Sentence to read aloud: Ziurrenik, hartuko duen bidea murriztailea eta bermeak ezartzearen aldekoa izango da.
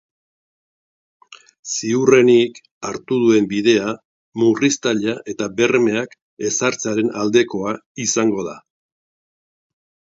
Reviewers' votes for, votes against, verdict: 0, 2, rejected